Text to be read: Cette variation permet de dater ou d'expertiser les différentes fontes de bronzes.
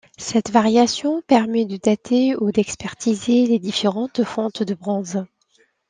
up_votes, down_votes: 2, 0